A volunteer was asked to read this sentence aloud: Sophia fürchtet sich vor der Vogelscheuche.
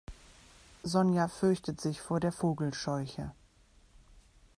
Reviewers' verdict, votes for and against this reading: rejected, 1, 2